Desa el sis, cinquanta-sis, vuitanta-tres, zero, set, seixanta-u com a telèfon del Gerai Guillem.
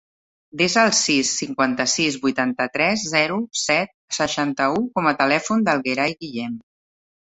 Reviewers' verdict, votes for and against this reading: accepted, 2, 0